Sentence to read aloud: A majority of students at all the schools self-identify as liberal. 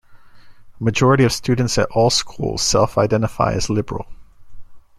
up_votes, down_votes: 0, 2